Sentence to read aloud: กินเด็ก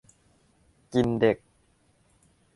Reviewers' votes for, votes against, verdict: 2, 0, accepted